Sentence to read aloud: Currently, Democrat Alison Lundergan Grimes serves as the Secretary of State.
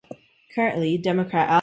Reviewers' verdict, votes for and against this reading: rejected, 1, 2